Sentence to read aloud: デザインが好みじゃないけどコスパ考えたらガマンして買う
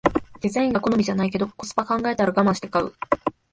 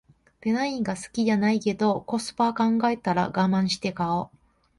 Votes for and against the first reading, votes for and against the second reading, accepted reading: 2, 0, 1, 2, first